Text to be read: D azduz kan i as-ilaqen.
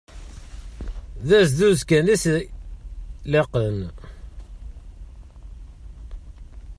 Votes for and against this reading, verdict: 0, 2, rejected